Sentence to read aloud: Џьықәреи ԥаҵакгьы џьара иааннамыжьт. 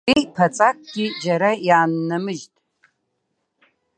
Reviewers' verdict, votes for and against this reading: rejected, 0, 2